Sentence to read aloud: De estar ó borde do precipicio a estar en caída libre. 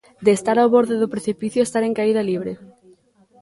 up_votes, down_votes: 2, 0